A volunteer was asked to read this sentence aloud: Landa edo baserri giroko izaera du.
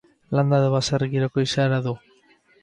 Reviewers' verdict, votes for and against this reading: rejected, 2, 4